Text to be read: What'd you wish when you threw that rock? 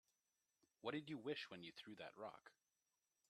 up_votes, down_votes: 2, 0